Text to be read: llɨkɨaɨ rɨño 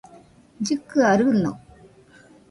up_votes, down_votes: 2, 0